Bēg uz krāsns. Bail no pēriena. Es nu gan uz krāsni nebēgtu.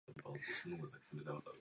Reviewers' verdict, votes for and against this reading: rejected, 1, 2